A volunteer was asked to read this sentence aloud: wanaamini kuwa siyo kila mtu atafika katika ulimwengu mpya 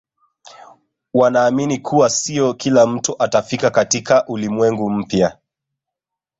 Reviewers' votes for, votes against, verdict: 1, 2, rejected